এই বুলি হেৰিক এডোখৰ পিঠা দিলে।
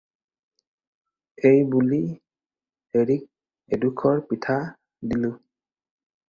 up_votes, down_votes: 2, 4